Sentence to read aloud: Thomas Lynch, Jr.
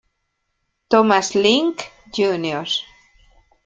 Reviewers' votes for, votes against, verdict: 0, 2, rejected